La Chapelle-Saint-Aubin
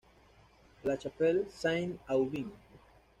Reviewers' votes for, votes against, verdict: 1, 2, rejected